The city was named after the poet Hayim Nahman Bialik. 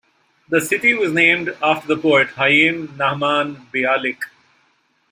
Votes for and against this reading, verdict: 1, 2, rejected